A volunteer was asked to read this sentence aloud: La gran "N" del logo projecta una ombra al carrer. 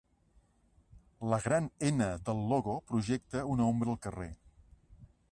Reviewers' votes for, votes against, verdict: 2, 0, accepted